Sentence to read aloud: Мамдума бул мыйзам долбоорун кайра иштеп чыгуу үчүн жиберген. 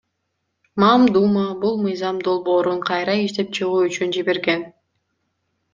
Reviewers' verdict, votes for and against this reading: accepted, 2, 0